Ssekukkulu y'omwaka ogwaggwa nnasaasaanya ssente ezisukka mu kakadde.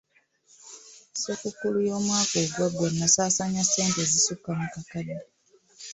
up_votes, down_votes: 2, 0